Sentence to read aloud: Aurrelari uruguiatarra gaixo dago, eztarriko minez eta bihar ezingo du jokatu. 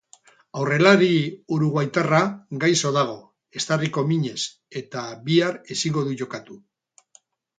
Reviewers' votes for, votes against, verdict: 0, 2, rejected